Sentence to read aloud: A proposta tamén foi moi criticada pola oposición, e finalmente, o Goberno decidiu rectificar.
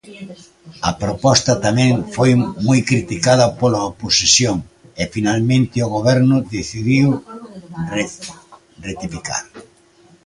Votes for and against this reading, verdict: 0, 2, rejected